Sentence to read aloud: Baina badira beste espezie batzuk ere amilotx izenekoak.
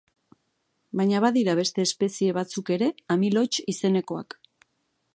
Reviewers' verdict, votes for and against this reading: accepted, 3, 0